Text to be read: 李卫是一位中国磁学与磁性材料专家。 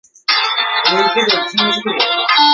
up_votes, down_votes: 0, 2